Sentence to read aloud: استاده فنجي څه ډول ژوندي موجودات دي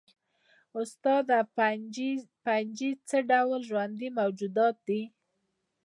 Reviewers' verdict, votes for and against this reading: accepted, 2, 0